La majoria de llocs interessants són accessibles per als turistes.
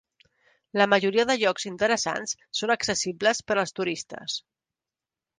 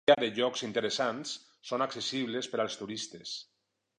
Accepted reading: first